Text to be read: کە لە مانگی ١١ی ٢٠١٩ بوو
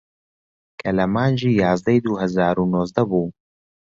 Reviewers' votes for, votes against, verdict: 0, 2, rejected